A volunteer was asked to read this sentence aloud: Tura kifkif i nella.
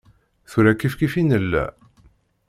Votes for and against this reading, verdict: 2, 0, accepted